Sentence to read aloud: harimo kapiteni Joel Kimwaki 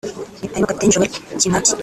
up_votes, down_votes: 0, 3